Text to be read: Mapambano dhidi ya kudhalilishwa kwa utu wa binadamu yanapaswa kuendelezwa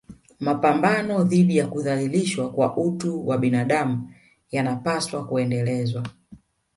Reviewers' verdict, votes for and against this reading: rejected, 1, 2